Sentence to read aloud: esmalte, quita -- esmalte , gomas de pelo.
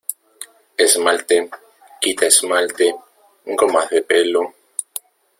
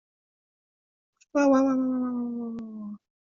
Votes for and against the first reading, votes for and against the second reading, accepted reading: 2, 1, 0, 2, first